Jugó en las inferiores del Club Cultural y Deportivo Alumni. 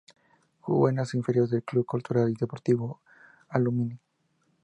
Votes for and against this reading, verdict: 0, 2, rejected